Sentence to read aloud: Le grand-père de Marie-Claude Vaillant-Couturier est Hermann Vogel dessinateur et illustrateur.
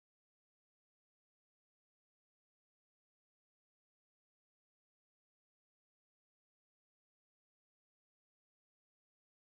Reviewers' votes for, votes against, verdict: 0, 2, rejected